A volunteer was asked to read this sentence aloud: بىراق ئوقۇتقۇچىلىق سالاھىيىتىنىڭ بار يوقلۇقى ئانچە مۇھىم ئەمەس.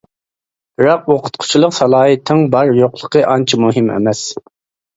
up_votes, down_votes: 0, 2